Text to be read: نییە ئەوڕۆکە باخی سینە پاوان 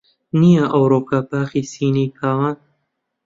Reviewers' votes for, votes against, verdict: 0, 2, rejected